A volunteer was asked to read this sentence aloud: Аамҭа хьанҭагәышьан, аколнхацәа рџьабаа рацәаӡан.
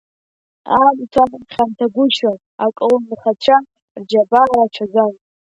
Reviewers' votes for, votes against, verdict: 1, 2, rejected